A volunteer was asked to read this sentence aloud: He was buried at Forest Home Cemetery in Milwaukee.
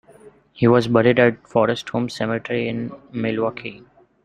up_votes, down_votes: 2, 0